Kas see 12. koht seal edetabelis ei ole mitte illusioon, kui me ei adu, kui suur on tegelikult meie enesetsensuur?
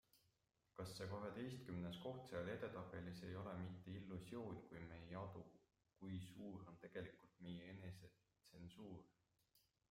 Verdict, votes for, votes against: rejected, 0, 2